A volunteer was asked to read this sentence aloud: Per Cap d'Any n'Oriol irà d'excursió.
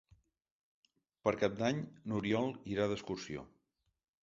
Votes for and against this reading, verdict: 3, 0, accepted